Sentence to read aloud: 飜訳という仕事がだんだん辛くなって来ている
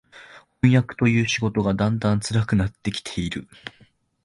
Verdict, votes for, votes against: rejected, 0, 2